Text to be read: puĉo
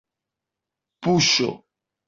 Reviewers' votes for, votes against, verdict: 2, 0, accepted